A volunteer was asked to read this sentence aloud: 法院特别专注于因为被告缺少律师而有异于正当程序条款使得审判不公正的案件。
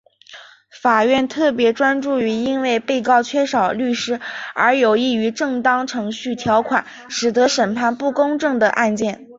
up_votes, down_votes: 0, 2